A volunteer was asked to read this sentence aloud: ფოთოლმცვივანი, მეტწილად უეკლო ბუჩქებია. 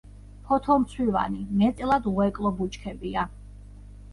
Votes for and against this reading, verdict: 2, 1, accepted